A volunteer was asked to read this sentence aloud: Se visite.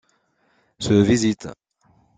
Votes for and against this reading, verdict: 2, 0, accepted